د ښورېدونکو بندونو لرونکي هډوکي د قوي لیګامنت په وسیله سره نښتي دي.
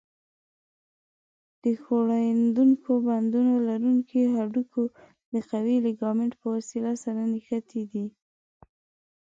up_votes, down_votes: 0, 2